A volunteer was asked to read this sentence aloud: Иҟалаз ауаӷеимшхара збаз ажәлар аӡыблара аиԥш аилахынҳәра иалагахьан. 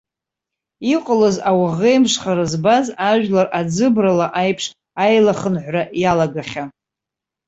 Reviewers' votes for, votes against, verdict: 1, 2, rejected